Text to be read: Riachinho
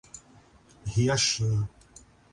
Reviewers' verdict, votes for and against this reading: accepted, 3, 0